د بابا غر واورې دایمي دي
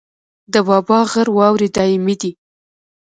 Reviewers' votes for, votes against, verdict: 1, 2, rejected